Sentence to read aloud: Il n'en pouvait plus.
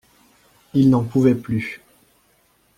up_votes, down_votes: 2, 0